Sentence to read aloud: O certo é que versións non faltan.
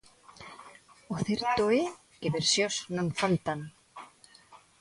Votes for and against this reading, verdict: 1, 2, rejected